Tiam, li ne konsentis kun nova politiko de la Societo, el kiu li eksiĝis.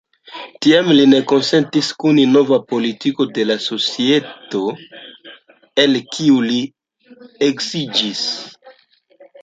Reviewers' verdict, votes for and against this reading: rejected, 0, 2